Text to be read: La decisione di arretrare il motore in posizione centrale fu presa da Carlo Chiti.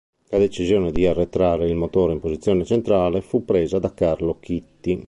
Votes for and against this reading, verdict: 1, 3, rejected